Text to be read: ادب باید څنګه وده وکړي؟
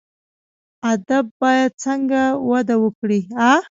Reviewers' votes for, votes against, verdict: 1, 2, rejected